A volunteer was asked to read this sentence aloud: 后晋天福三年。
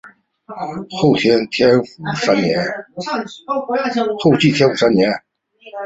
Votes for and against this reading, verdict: 1, 2, rejected